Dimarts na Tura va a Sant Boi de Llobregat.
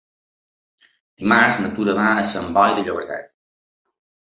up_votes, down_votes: 4, 2